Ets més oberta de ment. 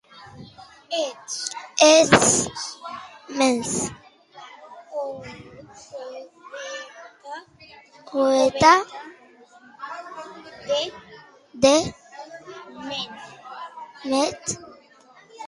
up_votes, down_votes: 1, 2